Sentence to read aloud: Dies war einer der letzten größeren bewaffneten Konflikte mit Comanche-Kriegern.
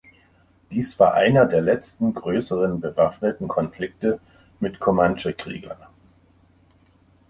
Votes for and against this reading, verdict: 2, 0, accepted